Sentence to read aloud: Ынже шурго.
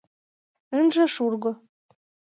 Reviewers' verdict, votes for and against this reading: accepted, 2, 0